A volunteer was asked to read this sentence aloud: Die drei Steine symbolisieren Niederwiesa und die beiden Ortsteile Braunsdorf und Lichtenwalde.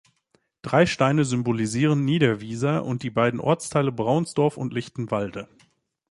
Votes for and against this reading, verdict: 0, 2, rejected